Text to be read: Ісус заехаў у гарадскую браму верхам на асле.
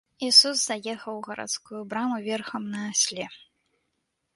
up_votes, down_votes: 2, 0